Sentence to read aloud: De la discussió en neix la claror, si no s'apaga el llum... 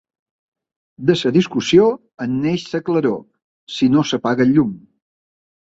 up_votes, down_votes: 2, 3